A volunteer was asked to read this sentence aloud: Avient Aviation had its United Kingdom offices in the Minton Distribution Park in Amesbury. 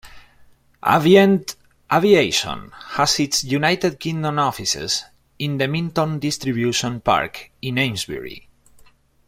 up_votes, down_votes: 2, 0